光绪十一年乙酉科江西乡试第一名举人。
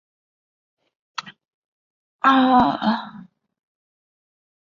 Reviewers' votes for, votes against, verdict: 0, 4, rejected